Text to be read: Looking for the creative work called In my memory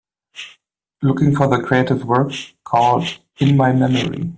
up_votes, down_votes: 1, 2